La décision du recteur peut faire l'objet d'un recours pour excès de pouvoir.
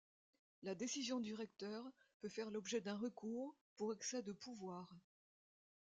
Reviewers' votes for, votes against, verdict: 2, 0, accepted